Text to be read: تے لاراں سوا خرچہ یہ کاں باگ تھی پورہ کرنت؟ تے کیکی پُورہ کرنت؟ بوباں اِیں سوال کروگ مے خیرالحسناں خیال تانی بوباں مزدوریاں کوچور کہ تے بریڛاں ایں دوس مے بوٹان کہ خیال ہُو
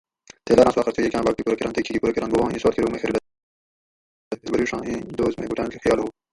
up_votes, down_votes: 0, 2